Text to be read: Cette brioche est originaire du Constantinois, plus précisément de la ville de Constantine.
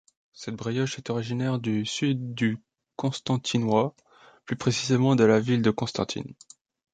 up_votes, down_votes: 0, 2